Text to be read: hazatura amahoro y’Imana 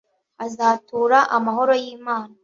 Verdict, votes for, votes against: accepted, 2, 0